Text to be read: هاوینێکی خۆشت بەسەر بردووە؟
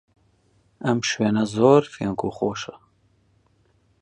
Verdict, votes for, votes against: rejected, 0, 2